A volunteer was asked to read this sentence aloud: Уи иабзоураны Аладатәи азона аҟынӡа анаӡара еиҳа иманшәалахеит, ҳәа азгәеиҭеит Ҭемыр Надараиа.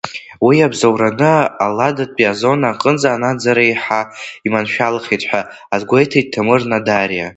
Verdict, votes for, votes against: rejected, 0, 2